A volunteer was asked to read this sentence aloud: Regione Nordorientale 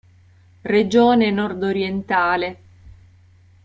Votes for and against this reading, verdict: 2, 0, accepted